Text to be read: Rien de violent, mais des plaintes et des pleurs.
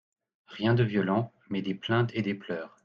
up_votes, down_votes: 2, 0